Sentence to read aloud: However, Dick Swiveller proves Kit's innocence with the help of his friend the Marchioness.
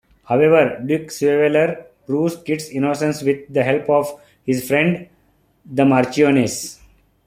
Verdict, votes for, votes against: rejected, 1, 2